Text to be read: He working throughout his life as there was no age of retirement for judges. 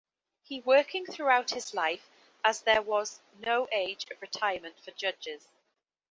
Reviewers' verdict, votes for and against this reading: accepted, 2, 0